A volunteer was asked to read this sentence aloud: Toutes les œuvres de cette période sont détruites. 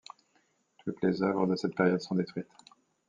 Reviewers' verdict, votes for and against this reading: accepted, 2, 0